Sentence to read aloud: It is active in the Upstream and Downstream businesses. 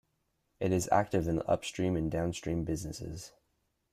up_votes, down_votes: 2, 1